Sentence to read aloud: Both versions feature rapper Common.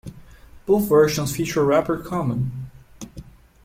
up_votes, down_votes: 2, 0